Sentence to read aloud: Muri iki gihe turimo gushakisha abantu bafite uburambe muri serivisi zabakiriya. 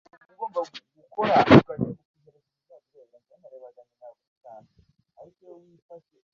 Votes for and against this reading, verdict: 0, 2, rejected